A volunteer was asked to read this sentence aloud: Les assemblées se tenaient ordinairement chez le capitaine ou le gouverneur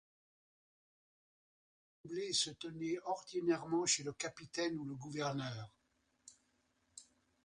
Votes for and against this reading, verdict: 1, 2, rejected